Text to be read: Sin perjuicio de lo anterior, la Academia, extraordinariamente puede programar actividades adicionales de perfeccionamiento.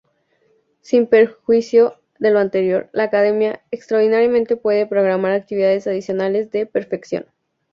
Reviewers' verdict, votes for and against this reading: rejected, 0, 4